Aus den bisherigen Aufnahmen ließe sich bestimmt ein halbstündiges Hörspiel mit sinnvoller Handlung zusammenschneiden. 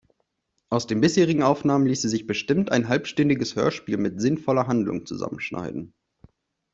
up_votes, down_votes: 2, 0